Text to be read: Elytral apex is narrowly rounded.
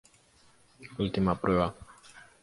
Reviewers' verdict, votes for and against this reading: rejected, 0, 2